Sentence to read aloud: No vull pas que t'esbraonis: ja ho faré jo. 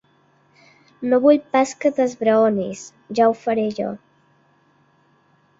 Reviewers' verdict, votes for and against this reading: accepted, 2, 1